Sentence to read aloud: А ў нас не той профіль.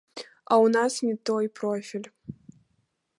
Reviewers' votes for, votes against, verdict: 2, 0, accepted